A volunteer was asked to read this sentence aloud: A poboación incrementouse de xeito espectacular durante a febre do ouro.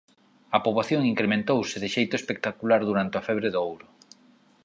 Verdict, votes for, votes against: accepted, 2, 0